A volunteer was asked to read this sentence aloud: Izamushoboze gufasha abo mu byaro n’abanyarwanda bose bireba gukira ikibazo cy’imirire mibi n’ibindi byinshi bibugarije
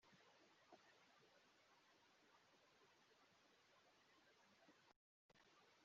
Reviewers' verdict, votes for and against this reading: rejected, 0, 2